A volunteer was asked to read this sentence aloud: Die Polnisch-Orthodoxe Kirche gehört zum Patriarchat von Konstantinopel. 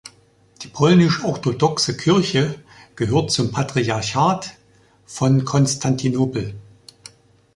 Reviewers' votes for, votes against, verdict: 1, 2, rejected